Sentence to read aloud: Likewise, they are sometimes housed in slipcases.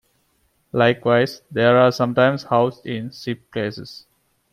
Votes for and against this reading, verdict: 2, 1, accepted